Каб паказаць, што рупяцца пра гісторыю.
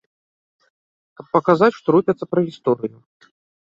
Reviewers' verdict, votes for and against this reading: rejected, 0, 2